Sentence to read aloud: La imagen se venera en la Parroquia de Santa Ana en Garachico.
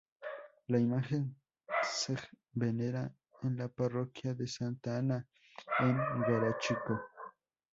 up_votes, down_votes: 2, 2